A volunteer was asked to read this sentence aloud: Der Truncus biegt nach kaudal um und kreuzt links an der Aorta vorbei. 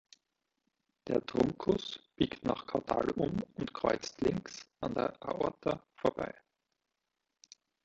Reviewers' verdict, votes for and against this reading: accepted, 2, 0